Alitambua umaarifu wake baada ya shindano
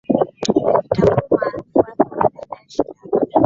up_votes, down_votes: 6, 12